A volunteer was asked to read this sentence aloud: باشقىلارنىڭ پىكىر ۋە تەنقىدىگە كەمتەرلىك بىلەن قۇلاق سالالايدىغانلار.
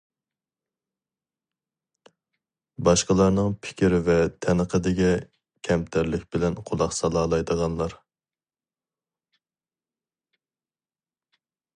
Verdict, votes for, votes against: accepted, 2, 0